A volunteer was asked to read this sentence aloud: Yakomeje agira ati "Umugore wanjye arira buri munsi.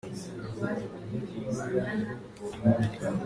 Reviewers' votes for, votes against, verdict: 1, 3, rejected